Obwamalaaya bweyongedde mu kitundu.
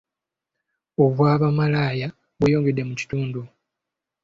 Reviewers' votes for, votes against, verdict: 2, 1, accepted